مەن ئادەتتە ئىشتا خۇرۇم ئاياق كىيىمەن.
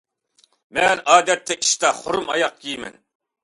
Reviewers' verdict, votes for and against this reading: accepted, 2, 1